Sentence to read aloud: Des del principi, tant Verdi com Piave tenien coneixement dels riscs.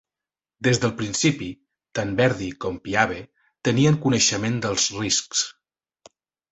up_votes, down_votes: 4, 0